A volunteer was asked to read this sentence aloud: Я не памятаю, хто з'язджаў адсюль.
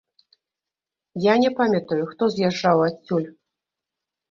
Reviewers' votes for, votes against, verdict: 0, 2, rejected